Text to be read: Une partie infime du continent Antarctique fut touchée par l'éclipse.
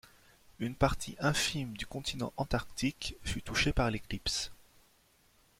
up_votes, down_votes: 2, 0